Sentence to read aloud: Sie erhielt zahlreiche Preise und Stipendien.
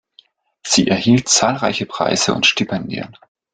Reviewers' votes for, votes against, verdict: 2, 0, accepted